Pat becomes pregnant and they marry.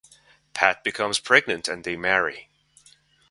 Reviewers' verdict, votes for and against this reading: accepted, 2, 0